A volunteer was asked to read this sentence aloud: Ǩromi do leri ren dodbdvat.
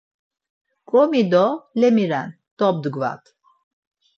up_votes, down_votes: 2, 4